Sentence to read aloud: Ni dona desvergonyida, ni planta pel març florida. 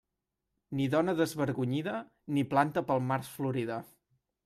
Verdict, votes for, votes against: accepted, 2, 0